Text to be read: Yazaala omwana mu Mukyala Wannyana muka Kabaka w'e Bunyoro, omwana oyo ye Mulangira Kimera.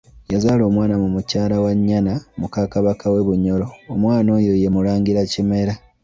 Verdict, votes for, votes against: accepted, 2, 1